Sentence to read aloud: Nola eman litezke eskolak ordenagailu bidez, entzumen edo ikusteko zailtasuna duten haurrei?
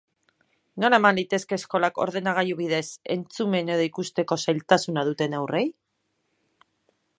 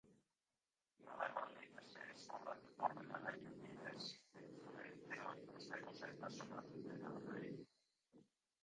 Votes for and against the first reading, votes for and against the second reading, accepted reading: 3, 0, 0, 2, first